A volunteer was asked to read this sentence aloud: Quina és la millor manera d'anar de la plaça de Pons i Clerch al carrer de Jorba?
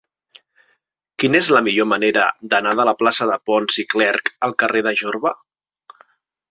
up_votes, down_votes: 3, 1